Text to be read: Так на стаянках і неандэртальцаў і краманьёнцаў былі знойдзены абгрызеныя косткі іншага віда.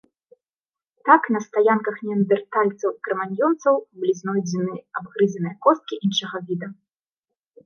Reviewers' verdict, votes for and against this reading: rejected, 0, 2